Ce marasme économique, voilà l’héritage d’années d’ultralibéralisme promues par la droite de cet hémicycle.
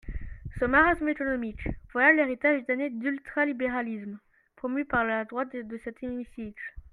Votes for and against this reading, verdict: 1, 2, rejected